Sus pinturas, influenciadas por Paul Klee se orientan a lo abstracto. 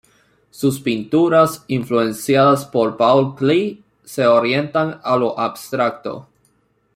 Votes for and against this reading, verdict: 2, 0, accepted